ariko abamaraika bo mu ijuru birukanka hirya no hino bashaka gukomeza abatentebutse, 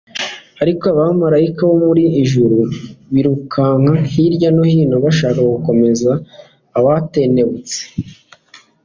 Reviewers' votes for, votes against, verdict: 2, 1, accepted